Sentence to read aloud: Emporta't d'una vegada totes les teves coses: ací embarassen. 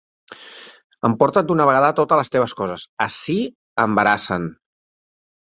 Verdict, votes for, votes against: accepted, 3, 0